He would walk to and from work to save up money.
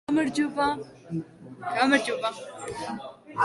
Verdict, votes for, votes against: rejected, 0, 2